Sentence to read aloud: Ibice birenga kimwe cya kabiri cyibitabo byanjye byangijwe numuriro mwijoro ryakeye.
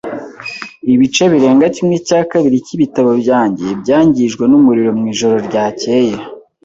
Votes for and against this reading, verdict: 3, 0, accepted